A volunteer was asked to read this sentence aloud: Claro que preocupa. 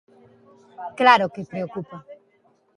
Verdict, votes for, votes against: accepted, 2, 0